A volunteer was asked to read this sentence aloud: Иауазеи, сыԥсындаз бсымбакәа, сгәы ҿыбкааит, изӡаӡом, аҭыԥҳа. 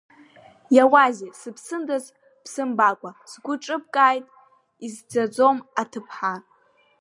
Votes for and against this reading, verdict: 0, 2, rejected